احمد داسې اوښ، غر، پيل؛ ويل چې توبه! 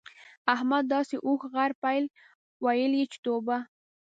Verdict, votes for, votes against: accepted, 2, 0